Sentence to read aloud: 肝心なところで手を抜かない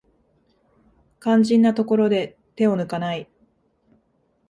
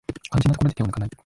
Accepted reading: first